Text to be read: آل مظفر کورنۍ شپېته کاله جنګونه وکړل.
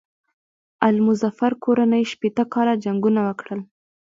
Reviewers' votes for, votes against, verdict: 3, 0, accepted